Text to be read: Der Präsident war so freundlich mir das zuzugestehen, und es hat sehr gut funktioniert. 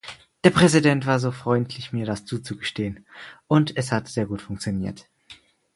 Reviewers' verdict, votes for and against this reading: accepted, 4, 0